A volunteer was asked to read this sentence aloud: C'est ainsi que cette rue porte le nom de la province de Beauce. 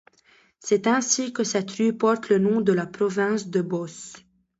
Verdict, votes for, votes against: rejected, 1, 2